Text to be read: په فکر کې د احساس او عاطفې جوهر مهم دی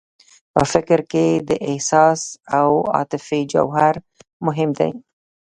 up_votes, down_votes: 1, 2